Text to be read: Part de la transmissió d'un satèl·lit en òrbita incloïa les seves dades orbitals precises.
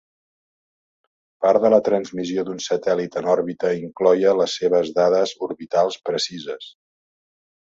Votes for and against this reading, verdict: 0, 2, rejected